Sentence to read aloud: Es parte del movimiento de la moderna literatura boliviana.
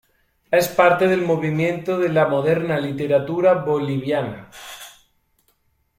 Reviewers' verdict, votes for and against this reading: accepted, 2, 0